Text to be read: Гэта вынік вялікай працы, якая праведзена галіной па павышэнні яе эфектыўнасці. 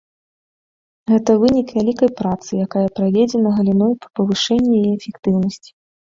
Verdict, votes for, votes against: accepted, 2, 0